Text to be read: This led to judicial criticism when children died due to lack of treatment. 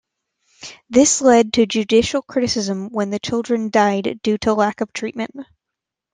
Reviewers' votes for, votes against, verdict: 0, 2, rejected